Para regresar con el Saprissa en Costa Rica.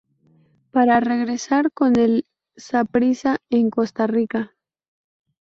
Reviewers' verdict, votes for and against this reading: accepted, 2, 0